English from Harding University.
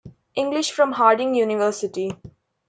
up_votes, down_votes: 2, 0